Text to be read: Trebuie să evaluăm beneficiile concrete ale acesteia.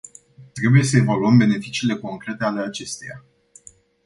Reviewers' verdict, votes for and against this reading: accepted, 2, 0